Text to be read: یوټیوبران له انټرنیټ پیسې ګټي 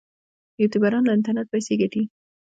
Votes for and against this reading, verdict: 2, 0, accepted